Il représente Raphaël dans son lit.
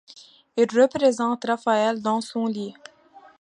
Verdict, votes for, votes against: accepted, 2, 0